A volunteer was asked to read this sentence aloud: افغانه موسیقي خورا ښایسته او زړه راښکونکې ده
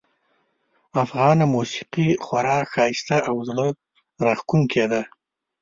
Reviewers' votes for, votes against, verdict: 2, 0, accepted